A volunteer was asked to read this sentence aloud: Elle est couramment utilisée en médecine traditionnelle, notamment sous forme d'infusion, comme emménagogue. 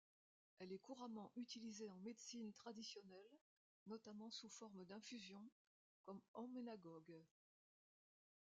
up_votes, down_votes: 1, 2